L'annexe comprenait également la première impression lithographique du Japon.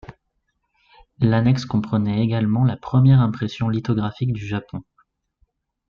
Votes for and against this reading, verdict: 2, 0, accepted